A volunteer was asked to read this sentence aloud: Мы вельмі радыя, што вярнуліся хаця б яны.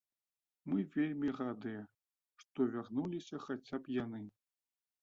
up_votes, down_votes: 2, 1